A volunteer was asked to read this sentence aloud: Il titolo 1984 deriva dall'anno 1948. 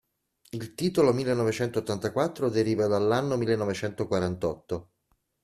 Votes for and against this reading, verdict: 0, 2, rejected